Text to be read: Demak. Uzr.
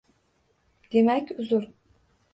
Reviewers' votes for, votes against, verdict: 2, 0, accepted